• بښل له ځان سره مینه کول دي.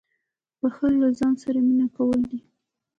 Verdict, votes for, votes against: rejected, 1, 2